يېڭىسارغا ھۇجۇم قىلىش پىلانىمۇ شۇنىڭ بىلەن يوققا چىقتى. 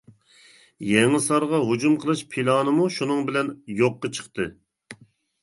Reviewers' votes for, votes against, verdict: 2, 0, accepted